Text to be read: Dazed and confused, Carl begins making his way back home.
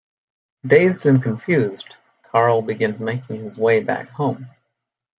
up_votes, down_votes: 0, 2